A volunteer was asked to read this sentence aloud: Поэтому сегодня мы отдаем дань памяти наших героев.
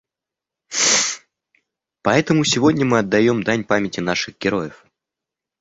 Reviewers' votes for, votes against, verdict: 1, 2, rejected